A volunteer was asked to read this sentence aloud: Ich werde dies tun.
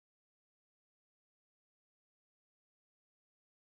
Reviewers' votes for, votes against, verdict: 0, 2, rejected